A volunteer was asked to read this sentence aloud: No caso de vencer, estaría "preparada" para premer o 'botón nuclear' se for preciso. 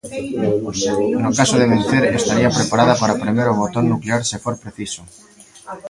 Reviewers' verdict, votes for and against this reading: accepted, 2, 1